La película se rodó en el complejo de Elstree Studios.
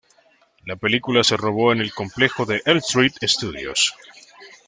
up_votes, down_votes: 2, 1